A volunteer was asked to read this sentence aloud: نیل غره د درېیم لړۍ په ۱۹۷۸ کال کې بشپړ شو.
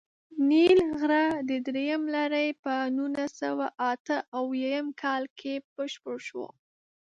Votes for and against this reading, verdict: 0, 2, rejected